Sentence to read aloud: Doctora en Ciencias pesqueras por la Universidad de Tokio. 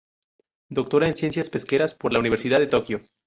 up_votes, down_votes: 0, 2